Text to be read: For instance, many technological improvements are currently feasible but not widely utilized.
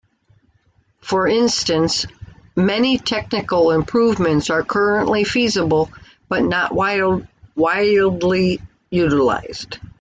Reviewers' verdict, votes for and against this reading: rejected, 0, 2